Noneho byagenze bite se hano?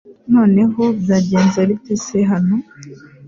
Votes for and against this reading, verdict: 2, 0, accepted